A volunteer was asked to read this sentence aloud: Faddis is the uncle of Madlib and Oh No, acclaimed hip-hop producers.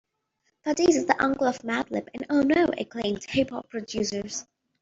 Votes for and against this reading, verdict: 2, 0, accepted